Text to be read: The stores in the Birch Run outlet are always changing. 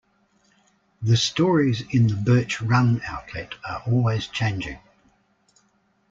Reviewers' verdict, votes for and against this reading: rejected, 0, 2